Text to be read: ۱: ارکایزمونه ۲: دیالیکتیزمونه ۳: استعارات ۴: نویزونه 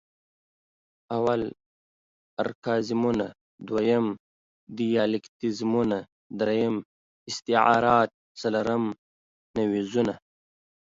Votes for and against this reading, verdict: 0, 2, rejected